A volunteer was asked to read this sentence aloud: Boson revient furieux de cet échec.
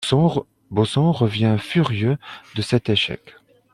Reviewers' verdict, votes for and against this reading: rejected, 0, 2